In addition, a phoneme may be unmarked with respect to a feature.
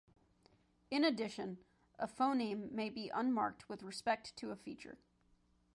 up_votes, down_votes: 2, 0